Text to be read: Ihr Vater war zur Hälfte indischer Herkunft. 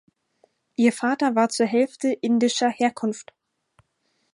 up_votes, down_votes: 4, 0